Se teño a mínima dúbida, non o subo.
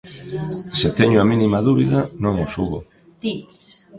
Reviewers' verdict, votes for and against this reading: rejected, 0, 2